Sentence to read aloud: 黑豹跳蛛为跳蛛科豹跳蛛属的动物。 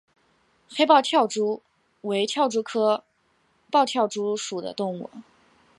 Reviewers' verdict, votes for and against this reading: accepted, 2, 1